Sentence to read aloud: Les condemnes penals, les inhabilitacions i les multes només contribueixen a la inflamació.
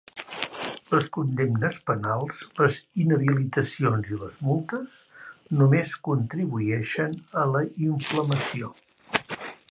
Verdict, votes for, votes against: accepted, 2, 1